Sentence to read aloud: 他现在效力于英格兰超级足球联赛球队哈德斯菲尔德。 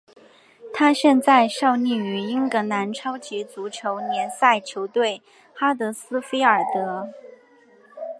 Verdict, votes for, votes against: accepted, 2, 0